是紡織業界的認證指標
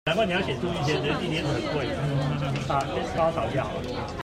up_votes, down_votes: 0, 2